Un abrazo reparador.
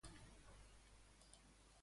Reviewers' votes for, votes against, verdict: 0, 2, rejected